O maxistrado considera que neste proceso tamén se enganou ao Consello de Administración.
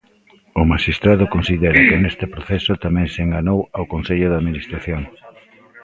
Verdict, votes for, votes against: rejected, 1, 2